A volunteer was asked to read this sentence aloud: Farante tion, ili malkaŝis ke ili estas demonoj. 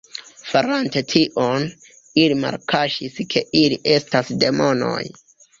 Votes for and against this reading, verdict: 2, 1, accepted